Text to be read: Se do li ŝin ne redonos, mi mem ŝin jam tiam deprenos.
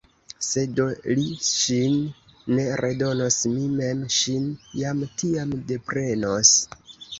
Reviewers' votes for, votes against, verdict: 1, 2, rejected